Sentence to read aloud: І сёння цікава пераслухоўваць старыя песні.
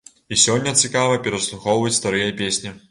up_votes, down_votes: 2, 0